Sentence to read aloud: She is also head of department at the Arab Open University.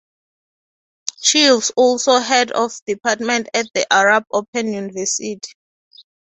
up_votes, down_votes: 2, 0